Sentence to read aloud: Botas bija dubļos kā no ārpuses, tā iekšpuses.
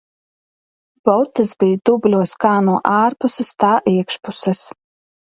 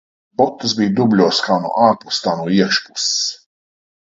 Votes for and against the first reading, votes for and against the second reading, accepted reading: 2, 0, 0, 2, first